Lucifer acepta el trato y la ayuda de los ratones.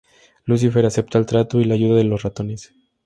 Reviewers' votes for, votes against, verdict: 2, 4, rejected